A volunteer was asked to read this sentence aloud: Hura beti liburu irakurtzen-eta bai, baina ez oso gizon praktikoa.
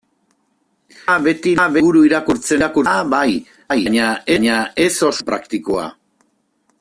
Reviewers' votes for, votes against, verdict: 0, 2, rejected